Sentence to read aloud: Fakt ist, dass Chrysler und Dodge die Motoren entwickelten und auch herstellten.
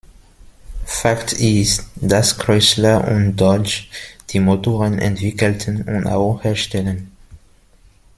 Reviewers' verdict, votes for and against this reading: rejected, 0, 2